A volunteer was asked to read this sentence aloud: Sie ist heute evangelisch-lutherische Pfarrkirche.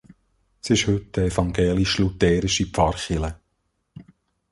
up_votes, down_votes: 0, 3